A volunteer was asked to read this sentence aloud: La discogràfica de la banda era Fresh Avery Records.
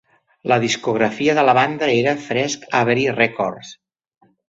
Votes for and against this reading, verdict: 0, 2, rejected